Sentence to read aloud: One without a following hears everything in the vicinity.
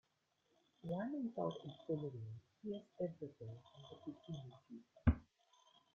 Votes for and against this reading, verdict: 1, 2, rejected